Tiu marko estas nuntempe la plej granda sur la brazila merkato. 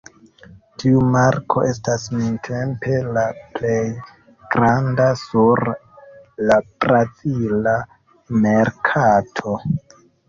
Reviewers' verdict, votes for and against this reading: rejected, 1, 2